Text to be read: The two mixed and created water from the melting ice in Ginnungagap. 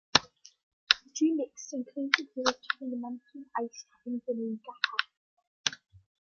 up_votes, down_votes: 1, 2